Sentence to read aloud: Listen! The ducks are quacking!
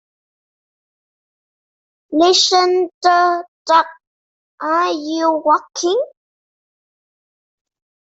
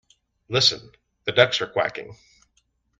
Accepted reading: second